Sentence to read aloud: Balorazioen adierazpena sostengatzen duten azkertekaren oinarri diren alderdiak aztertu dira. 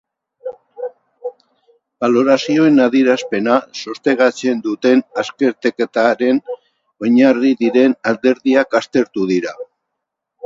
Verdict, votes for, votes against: rejected, 0, 4